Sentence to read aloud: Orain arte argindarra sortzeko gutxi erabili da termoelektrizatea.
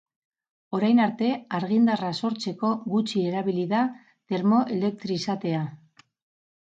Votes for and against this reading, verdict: 2, 4, rejected